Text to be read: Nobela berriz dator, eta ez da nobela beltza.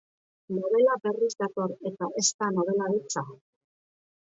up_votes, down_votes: 2, 1